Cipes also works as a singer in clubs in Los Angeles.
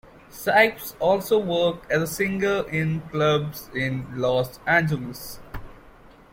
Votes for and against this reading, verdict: 2, 1, accepted